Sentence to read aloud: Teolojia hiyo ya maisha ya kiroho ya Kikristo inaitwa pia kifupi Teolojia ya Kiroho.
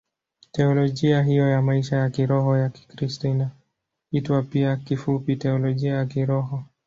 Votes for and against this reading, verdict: 4, 1, accepted